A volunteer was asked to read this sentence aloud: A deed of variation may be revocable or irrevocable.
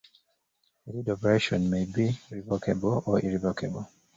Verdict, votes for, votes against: accepted, 2, 1